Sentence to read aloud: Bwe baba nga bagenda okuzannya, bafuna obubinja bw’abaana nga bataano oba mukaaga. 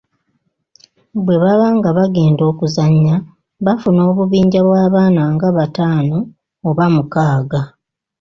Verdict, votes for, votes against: accepted, 2, 1